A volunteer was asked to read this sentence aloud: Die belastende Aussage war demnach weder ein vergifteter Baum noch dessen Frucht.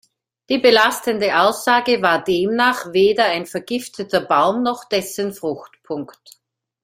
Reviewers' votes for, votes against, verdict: 0, 2, rejected